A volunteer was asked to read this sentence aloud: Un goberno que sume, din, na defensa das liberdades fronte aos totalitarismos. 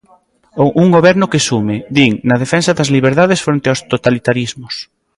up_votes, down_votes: 2, 0